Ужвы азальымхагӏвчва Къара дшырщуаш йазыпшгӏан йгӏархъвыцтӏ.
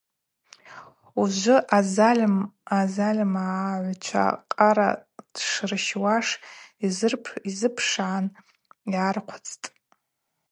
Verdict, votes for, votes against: rejected, 0, 2